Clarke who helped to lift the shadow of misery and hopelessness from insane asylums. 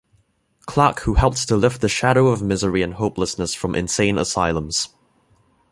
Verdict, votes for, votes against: accepted, 2, 0